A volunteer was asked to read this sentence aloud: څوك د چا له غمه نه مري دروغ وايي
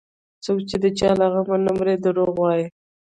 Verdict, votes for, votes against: rejected, 0, 2